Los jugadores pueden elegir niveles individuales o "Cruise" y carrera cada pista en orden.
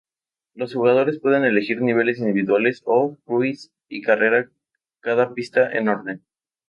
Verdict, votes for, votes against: accepted, 2, 0